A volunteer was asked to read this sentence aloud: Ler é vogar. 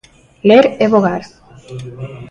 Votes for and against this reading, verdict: 0, 2, rejected